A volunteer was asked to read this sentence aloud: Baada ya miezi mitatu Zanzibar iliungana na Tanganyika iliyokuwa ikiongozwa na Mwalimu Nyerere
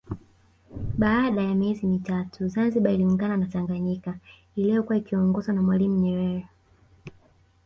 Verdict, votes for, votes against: accepted, 2, 0